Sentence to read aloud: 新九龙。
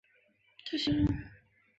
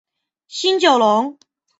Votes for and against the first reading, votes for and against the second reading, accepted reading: 0, 2, 2, 0, second